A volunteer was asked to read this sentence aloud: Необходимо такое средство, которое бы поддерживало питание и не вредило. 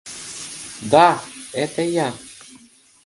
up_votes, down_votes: 0, 2